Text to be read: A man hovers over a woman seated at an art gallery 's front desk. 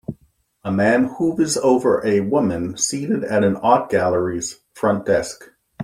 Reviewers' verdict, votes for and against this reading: rejected, 1, 3